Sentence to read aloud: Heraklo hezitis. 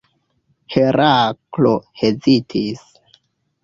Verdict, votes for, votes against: accepted, 2, 1